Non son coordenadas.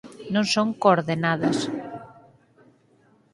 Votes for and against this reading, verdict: 2, 4, rejected